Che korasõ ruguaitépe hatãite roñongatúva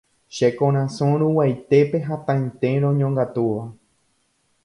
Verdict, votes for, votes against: accepted, 2, 0